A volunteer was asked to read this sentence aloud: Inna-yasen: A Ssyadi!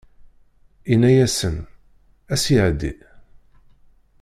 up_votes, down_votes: 0, 2